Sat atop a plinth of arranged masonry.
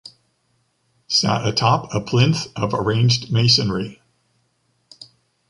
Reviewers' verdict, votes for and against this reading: accepted, 2, 0